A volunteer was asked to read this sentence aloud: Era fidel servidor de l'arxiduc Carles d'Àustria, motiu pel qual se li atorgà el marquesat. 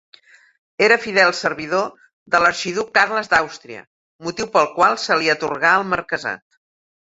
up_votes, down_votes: 2, 0